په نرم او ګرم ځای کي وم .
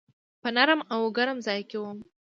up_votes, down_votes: 1, 2